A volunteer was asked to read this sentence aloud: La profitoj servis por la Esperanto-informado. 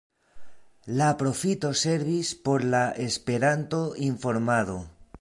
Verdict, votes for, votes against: rejected, 0, 2